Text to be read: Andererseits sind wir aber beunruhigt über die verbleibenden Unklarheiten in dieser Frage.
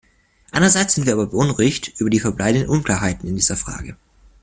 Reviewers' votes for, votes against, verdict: 1, 2, rejected